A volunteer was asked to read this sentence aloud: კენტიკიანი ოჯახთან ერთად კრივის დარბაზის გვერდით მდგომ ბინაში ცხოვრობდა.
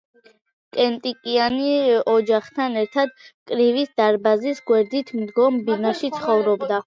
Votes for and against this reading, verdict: 1, 2, rejected